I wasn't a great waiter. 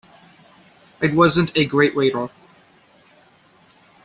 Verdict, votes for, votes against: accepted, 2, 1